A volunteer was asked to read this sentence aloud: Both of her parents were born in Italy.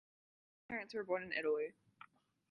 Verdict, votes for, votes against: rejected, 0, 2